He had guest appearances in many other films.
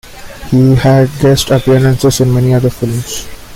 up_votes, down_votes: 2, 0